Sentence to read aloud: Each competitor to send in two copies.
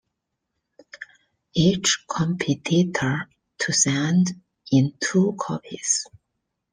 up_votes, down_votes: 2, 1